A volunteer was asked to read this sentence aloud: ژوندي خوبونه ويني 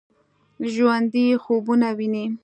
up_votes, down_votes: 2, 0